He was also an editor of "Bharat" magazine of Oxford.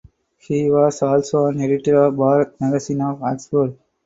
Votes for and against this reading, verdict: 4, 2, accepted